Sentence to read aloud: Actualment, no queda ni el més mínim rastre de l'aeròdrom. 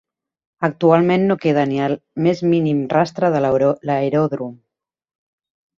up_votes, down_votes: 0, 2